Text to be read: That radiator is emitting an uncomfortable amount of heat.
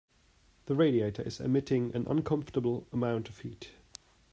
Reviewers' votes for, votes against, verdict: 0, 2, rejected